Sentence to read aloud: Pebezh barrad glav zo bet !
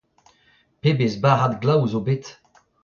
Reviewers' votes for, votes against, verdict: 2, 1, accepted